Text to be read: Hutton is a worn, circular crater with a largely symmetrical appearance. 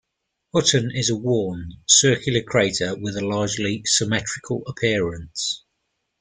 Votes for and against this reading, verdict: 3, 0, accepted